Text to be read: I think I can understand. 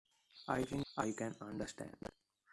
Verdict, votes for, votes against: rejected, 1, 2